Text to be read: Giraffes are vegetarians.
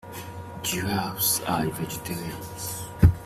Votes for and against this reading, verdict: 1, 2, rejected